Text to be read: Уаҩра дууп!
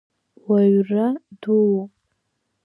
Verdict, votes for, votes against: accepted, 2, 0